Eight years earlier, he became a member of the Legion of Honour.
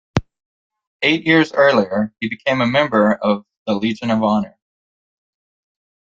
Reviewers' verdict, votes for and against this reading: accepted, 2, 1